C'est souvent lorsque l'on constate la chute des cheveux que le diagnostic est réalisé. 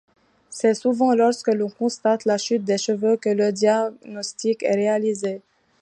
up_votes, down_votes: 1, 2